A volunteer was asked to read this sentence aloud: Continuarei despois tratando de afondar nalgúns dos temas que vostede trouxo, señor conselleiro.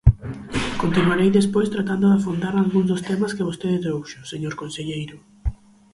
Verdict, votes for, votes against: rejected, 2, 4